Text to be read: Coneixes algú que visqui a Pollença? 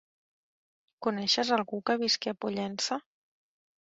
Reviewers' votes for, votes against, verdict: 1, 2, rejected